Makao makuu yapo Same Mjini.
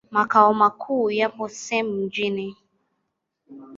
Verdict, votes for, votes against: rejected, 1, 2